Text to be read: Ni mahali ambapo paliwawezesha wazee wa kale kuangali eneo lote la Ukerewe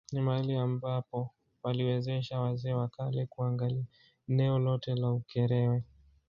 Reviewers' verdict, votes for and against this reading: rejected, 1, 2